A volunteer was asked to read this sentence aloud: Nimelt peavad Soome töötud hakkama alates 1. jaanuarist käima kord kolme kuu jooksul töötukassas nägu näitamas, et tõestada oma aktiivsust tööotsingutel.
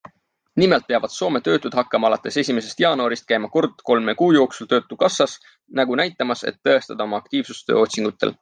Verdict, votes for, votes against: rejected, 0, 2